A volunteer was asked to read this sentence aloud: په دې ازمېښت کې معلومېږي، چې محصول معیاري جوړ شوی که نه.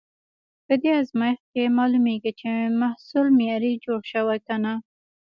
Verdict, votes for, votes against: accepted, 2, 0